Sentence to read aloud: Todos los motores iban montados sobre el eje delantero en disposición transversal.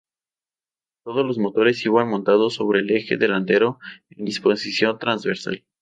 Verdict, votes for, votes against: accepted, 2, 0